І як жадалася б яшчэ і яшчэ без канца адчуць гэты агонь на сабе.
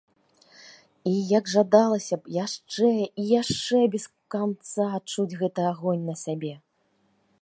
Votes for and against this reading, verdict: 2, 1, accepted